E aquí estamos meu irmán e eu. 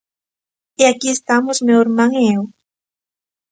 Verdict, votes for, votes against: accepted, 2, 0